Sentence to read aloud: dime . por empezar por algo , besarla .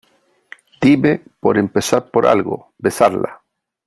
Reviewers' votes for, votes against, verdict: 3, 0, accepted